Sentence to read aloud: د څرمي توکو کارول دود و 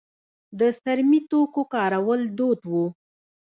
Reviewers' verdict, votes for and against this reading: rejected, 0, 2